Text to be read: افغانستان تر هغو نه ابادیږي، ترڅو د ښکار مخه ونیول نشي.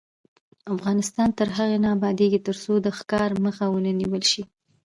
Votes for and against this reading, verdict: 2, 0, accepted